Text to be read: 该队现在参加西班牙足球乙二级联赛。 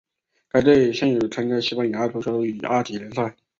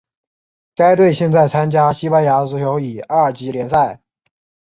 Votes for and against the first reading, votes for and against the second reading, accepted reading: 1, 2, 2, 1, second